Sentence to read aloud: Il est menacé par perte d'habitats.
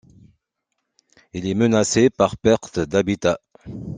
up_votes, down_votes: 2, 0